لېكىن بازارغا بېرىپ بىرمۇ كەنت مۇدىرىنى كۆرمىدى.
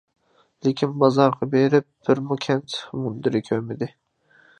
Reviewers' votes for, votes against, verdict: 0, 2, rejected